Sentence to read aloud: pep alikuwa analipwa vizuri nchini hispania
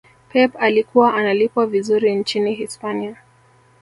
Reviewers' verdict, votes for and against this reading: accepted, 2, 1